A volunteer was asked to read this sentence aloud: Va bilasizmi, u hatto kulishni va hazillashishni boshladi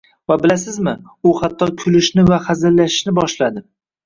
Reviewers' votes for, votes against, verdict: 2, 0, accepted